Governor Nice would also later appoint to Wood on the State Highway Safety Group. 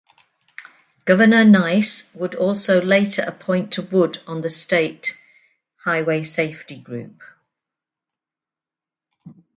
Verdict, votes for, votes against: accepted, 2, 0